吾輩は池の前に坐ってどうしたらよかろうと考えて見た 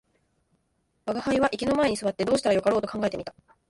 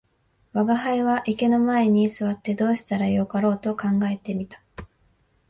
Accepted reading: second